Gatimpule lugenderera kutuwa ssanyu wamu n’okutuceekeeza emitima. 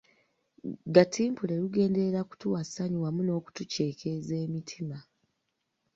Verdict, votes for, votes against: accepted, 2, 0